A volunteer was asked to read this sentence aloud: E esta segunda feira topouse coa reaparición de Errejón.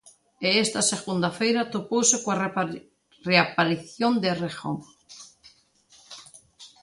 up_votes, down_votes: 0, 3